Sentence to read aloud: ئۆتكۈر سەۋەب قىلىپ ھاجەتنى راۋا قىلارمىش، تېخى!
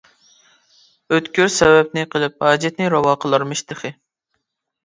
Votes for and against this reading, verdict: 0, 2, rejected